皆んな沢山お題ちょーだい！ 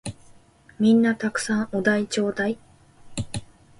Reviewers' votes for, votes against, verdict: 2, 0, accepted